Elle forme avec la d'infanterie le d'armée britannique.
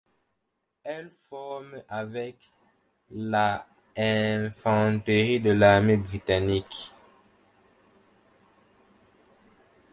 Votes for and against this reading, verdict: 1, 2, rejected